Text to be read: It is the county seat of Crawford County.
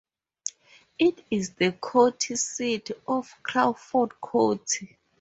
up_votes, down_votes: 0, 4